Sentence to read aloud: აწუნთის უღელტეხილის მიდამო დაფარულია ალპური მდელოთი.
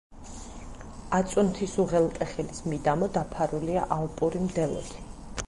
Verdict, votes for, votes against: accepted, 4, 0